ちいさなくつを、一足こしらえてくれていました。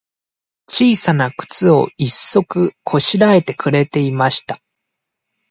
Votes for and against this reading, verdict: 2, 1, accepted